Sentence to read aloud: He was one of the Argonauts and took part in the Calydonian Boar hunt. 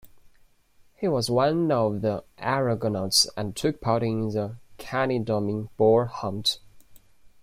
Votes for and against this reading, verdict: 0, 2, rejected